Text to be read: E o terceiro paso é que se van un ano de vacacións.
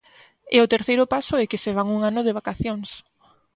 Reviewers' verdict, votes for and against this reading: accepted, 2, 0